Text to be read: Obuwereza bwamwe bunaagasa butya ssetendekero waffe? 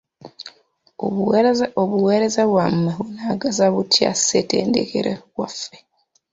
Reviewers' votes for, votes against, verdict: 0, 2, rejected